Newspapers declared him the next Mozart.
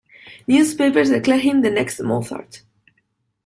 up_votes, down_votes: 2, 0